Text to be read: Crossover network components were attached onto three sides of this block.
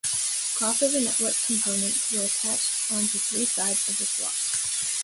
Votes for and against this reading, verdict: 2, 0, accepted